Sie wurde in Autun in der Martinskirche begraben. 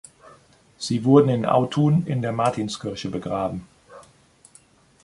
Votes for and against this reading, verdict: 0, 2, rejected